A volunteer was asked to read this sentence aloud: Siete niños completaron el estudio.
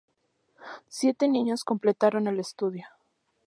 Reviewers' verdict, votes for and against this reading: accepted, 2, 0